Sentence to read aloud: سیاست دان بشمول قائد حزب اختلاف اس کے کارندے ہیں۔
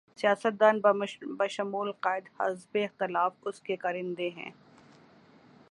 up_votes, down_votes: 3, 0